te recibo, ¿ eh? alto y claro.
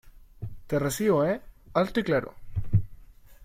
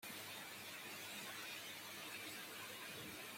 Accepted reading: first